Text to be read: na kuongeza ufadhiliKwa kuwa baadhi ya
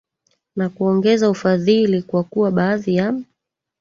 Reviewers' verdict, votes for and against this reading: rejected, 1, 2